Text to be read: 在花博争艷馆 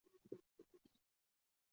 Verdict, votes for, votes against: rejected, 0, 2